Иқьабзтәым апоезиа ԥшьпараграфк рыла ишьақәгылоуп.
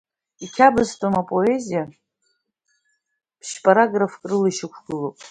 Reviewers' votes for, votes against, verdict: 2, 1, accepted